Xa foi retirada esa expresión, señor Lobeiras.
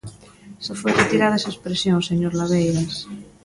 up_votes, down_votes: 2, 0